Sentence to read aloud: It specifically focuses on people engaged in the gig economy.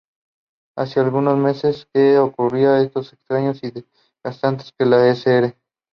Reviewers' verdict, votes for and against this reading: rejected, 0, 2